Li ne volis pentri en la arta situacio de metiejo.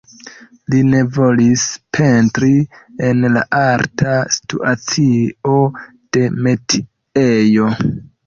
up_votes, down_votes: 2, 1